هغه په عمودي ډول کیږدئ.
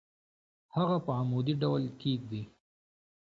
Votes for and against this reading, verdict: 1, 2, rejected